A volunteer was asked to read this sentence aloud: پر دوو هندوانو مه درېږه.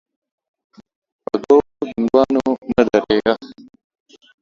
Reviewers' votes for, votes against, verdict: 1, 2, rejected